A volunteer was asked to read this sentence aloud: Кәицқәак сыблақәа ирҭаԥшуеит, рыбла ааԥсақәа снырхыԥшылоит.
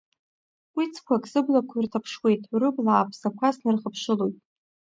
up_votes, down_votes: 2, 0